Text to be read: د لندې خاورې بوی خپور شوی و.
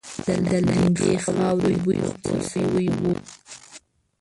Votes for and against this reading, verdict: 1, 5, rejected